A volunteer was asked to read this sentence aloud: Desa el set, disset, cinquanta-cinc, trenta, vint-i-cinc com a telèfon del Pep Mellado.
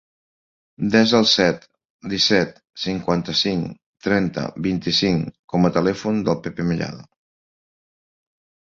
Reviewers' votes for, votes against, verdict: 2, 1, accepted